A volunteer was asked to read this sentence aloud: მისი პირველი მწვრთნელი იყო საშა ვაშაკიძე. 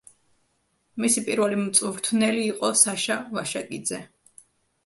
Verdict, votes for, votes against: accepted, 2, 0